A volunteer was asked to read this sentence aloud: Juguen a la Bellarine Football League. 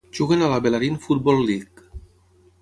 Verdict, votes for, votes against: accepted, 6, 0